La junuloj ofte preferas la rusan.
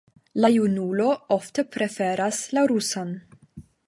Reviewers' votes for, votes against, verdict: 0, 5, rejected